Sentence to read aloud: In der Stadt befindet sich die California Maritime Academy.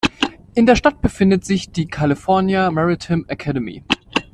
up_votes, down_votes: 2, 0